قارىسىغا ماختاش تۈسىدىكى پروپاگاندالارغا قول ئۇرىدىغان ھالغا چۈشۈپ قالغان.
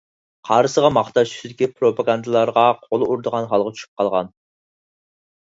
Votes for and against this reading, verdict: 4, 0, accepted